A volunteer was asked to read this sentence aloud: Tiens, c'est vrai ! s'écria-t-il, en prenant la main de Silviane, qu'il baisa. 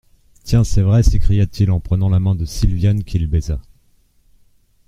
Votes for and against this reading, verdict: 2, 0, accepted